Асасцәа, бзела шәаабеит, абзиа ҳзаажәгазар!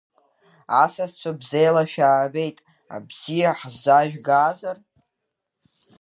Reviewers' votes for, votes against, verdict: 2, 0, accepted